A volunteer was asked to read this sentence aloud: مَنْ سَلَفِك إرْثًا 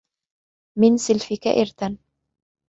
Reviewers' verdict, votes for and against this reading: accepted, 2, 0